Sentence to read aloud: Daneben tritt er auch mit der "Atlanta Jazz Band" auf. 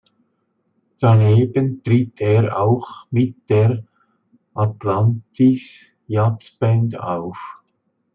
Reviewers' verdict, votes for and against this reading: rejected, 0, 2